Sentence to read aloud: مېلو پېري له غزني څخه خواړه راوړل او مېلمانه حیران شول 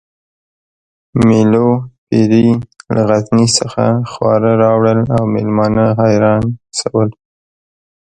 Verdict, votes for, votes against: accepted, 2, 1